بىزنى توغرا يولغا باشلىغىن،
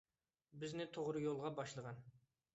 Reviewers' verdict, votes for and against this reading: accepted, 2, 0